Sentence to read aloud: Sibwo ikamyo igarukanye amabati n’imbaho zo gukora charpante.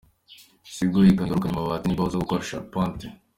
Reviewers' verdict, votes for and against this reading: rejected, 1, 2